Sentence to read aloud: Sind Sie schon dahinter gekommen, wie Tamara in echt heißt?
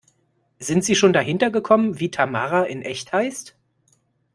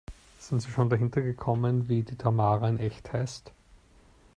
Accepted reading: first